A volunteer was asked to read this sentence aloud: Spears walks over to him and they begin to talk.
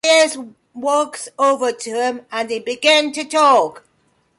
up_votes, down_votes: 1, 2